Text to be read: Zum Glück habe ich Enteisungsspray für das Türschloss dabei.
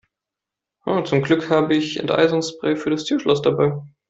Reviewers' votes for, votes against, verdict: 2, 0, accepted